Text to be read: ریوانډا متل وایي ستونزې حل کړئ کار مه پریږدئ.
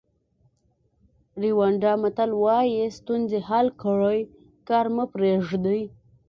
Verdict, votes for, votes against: accepted, 2, 0